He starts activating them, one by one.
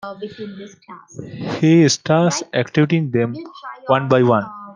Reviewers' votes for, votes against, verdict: 0, 2, rejected